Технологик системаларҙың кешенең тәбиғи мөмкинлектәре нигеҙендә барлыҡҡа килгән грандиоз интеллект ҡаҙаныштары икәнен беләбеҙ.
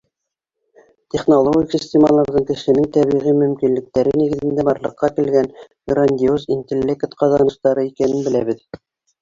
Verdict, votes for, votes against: accepted, 2, 1